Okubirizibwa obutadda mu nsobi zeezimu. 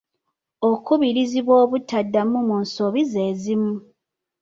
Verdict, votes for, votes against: rejected, 0, 2